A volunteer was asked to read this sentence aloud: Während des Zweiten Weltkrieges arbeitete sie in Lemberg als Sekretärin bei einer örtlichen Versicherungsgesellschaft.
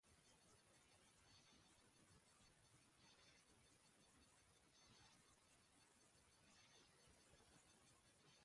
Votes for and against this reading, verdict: 0, 2, rejected